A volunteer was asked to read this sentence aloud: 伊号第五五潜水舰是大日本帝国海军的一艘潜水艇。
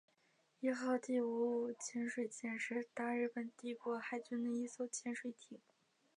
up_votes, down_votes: 3, 1